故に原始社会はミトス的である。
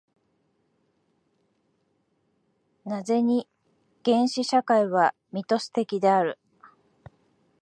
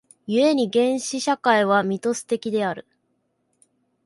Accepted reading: second